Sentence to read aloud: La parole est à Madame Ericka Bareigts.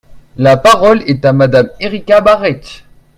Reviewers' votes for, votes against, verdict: 2, 1, accepted